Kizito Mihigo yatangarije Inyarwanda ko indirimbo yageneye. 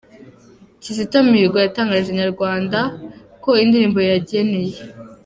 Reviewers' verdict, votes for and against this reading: accepted, 2, 0